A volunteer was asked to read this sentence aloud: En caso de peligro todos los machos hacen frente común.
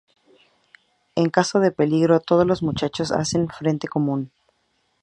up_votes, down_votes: 0, 2